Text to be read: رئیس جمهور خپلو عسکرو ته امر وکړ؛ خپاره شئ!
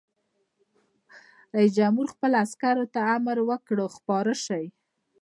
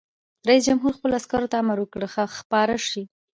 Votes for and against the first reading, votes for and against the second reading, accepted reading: 2, 0, 0, 2, first